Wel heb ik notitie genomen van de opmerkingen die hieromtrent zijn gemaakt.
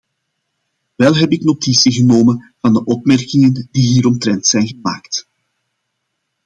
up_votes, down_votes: 2, 0